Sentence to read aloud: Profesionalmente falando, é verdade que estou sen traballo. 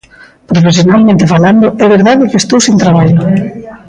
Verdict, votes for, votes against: rejected, 0, 2